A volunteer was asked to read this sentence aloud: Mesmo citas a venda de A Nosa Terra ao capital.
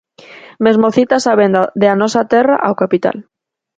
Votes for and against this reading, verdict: 4, 0, accepted